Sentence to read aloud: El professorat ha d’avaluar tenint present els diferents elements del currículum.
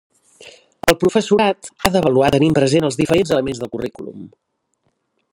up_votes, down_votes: 1, 2